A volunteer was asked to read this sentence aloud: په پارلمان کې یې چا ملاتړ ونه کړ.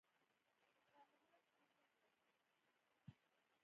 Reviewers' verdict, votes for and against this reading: rejected, 0, 2